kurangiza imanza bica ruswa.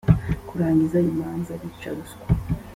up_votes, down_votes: 2, 1